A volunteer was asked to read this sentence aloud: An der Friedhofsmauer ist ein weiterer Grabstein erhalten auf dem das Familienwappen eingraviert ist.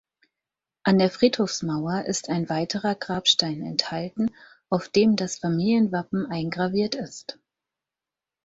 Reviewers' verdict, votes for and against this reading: rejected, 0, 4